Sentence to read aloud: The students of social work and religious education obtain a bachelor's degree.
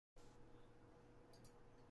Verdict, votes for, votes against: rejected, 0, 2